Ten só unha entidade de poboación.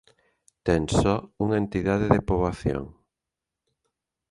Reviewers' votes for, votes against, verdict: 2, 0, accepted